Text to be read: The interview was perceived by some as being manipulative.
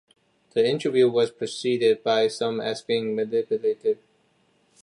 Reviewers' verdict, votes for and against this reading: rejected, 1, 2